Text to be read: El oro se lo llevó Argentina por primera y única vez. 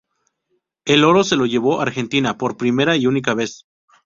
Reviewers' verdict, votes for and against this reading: accepted, 4, 0